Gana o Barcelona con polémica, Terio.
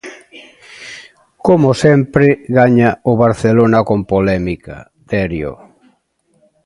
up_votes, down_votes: 0, 2